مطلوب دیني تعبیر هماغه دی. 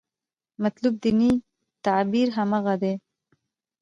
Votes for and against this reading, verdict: 1, 2, rejected